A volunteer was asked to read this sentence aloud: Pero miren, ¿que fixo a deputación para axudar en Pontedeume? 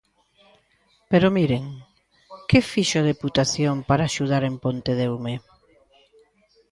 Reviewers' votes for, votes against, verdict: 2, 0, accepted